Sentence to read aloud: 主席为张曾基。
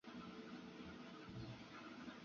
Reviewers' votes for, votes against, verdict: 0, 2, rejected